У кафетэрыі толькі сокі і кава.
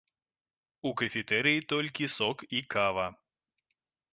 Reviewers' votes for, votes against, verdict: 1, 2, rejected